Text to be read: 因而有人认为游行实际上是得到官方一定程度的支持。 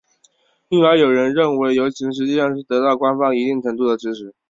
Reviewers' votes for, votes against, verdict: 3, 0, accepted